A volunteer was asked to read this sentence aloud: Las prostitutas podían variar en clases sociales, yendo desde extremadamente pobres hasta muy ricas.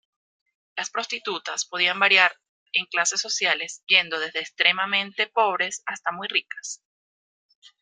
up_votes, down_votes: 1, 2